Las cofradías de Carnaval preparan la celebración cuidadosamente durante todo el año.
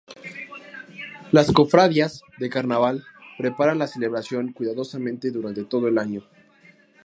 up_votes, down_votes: 0, 2